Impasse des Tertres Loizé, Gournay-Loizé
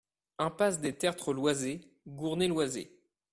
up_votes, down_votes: 2, 0